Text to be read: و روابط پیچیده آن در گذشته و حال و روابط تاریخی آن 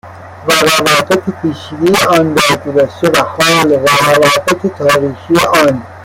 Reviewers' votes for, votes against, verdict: 0, 2, rejected